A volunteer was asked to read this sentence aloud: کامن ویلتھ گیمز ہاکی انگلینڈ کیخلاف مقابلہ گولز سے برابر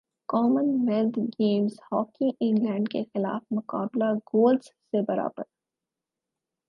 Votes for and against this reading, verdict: 4, 0, accepted